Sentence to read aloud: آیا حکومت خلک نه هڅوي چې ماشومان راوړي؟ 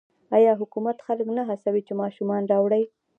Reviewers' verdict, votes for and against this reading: accepted, 2, 0